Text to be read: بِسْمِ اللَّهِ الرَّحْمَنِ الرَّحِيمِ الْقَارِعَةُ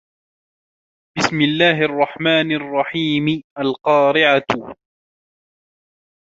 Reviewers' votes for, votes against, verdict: 2, 0, accepted